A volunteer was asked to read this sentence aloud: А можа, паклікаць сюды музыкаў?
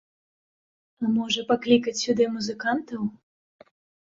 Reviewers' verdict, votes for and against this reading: rejected, 0, 3